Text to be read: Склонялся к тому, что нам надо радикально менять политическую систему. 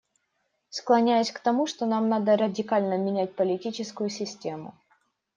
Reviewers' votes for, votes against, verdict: 0, 2, rejected